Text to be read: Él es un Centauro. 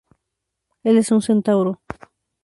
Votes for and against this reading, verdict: 2, 0, accepted